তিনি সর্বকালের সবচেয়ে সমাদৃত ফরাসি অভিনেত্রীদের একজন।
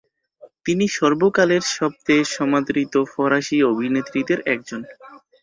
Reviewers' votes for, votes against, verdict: 4, 0, accepted